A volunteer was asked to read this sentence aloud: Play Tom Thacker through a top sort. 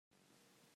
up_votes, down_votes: 0, 2